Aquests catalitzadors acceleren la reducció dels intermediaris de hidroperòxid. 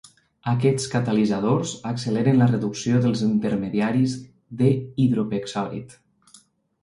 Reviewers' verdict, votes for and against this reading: rejected, 0, 2